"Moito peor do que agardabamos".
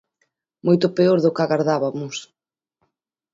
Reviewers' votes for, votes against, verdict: 1, 2, rejected